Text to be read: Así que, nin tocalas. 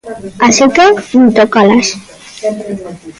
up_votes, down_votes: 0, 2